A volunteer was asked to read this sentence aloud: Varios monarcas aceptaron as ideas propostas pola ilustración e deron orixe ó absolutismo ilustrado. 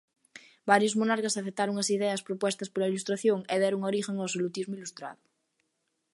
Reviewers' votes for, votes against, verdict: 0, 3, rejected